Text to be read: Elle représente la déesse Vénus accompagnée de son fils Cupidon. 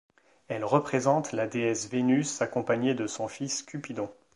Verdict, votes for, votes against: accepted, 2, 0